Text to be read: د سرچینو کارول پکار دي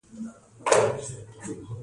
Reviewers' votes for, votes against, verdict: 2, 0, accepted